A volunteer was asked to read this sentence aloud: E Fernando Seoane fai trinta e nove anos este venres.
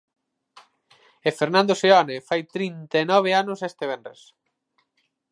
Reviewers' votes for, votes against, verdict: 4, 0, accepted